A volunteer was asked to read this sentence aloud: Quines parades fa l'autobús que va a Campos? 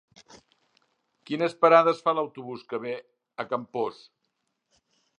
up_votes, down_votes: 0, 2